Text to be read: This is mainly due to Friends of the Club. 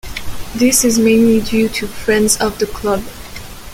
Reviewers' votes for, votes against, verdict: 2, 0, accepted